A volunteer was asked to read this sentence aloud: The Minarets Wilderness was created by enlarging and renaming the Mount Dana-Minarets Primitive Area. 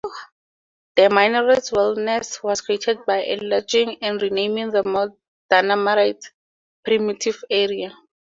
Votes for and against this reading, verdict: 2, 0, accepted